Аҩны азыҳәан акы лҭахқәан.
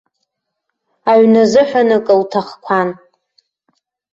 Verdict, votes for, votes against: accepted, 2, 0